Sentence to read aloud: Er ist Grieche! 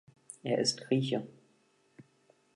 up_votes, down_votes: 2, 0